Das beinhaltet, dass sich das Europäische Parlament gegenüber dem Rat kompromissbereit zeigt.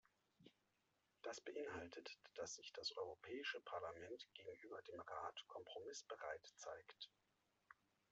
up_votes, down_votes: 2, 0